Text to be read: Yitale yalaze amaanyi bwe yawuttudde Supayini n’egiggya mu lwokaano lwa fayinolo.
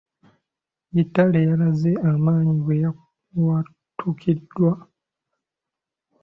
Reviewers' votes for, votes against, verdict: 1, 2, rejected